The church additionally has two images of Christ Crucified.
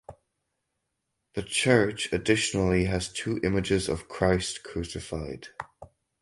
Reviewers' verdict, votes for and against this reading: rejected, 2, 4